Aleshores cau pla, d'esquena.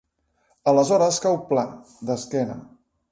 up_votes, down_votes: 2, 0